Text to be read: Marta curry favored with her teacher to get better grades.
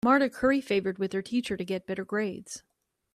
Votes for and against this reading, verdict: 2, 0, accepted